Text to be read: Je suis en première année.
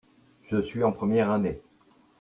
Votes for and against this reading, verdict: 1, 2, rejected